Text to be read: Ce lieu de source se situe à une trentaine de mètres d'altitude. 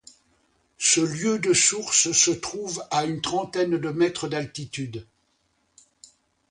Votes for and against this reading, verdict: 0, 2, rejected